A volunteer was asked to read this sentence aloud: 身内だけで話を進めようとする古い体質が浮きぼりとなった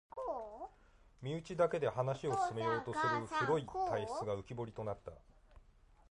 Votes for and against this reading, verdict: 1, 2, rejected